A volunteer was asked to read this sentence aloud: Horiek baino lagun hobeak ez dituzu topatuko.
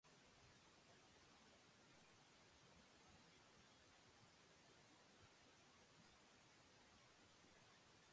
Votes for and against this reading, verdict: 0, 2, rejected